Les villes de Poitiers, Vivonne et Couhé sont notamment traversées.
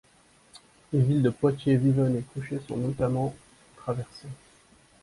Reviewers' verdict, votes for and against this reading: accepted, 2, 0